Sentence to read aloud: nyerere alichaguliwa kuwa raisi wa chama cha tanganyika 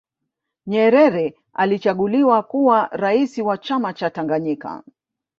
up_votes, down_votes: 1, 2